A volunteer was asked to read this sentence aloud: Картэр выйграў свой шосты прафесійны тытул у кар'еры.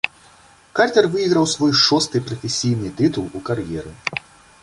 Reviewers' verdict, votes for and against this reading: accepted, 2, 0